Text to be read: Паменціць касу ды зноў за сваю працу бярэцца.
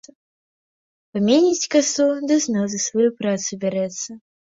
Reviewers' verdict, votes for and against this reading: rejected, 0, 2